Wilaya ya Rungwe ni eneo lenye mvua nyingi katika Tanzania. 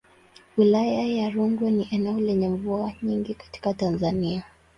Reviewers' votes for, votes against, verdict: 2, 2, rejected